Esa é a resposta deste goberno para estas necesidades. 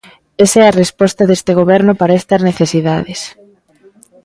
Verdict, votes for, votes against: accepted, 2, 0